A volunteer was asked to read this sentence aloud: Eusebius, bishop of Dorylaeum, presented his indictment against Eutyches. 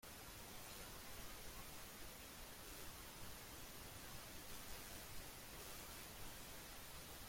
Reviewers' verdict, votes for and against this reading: rejected, 0, 2